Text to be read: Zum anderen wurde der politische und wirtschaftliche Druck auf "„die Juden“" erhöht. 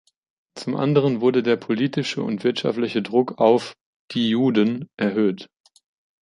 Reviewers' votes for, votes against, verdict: 2, 0, accepted